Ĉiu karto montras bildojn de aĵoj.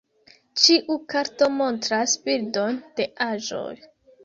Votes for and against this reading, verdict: 2, 3, rejected